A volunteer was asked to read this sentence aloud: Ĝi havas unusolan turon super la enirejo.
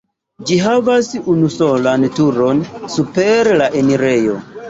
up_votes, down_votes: 0, 2